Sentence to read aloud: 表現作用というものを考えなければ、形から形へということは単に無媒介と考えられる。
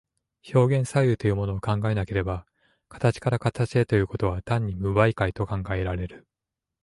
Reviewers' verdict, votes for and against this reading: accepted, 2, 1